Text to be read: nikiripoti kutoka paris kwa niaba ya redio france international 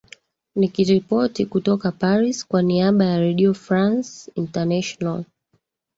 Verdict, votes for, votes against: accepted, 2, 1